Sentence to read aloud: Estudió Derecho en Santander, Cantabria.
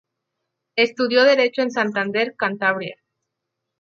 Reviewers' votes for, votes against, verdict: 4, 0, accepted